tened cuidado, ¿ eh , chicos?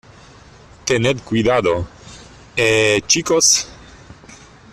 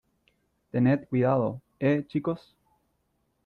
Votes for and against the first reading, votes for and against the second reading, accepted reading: 1, 2, 2, 0, second